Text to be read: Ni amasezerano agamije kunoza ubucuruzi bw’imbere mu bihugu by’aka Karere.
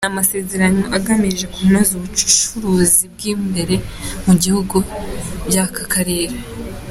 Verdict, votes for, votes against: accepted, 2, 0